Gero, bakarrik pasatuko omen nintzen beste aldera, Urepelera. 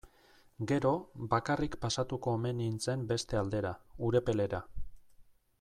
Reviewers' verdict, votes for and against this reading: accepted, 2, 0